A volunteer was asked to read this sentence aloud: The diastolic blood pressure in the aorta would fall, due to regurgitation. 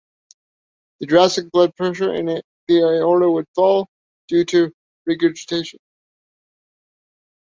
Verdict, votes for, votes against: rejected, 1, 2